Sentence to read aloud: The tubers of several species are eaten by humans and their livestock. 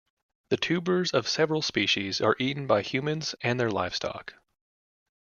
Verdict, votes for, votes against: accepted, 2, 0